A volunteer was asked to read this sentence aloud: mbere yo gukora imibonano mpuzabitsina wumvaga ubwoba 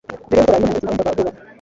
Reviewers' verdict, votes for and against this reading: rejected, 1, 2